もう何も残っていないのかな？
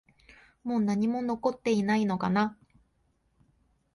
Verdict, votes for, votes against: accepted, 2, 0